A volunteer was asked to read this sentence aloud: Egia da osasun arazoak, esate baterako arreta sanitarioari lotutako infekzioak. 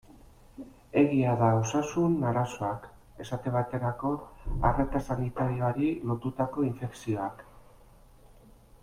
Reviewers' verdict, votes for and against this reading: accepted, 2, 1